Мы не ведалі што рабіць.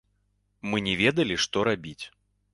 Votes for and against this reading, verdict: 2, 0, accepted